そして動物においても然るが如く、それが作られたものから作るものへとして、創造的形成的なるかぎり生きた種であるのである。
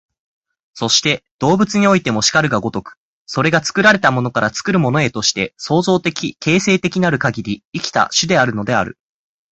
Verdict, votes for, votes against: accepted, 4, 0